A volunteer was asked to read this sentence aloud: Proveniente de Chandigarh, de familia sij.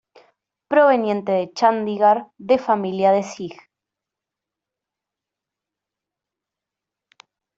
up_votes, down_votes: 0, 2